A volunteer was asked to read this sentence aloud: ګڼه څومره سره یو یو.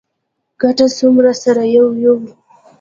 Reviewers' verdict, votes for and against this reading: accepted, 2, 1